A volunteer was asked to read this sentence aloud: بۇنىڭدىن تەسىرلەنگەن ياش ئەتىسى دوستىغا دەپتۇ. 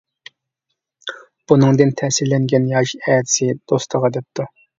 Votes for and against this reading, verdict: 2, 0, accepted